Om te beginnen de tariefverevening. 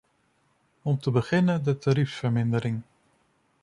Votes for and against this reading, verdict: 0, 2, rejected